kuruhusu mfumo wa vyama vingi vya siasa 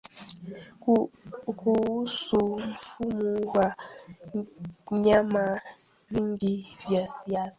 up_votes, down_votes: 0, 2